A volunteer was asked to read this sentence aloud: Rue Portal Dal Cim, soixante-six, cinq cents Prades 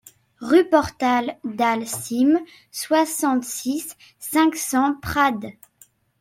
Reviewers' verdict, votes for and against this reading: accepted, 2, 0